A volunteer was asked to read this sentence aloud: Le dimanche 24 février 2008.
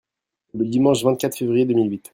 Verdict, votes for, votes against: rejected, 0, 2